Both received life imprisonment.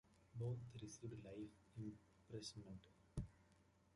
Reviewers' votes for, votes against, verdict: 0, 2, rejected